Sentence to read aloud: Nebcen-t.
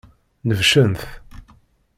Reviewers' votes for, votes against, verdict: 2, 0, accepted